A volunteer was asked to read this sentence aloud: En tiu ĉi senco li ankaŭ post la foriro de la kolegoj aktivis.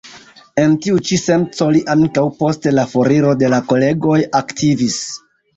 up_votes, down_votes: 2, 0